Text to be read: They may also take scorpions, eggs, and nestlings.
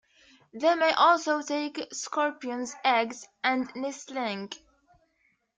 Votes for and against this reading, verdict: 1, 2, rejected